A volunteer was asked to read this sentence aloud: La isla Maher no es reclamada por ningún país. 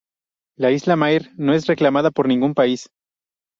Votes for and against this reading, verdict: 0, 2, rejected